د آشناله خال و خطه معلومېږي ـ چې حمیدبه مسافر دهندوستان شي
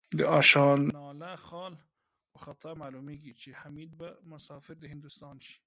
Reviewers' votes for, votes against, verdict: 0, 2, rejected